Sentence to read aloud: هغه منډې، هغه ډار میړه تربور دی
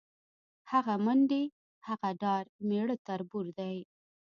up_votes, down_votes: 3, 0